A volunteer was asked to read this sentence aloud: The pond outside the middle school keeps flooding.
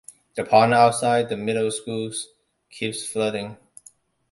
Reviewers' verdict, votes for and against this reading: rejected, 0, 2